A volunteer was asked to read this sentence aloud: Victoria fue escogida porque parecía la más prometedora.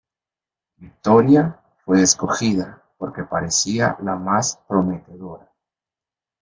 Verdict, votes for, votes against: rejected, 1, 2